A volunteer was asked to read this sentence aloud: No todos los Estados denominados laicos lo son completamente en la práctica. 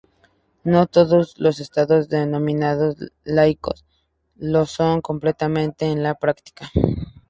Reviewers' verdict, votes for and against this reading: accepted, 2, 0